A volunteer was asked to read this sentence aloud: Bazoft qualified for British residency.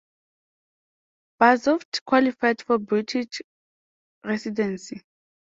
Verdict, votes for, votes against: rejected, 0, 2